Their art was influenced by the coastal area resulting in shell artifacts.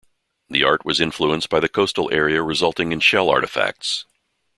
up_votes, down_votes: 1, 2